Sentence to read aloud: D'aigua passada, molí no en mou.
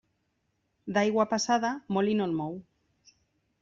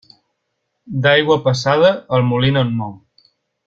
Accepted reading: first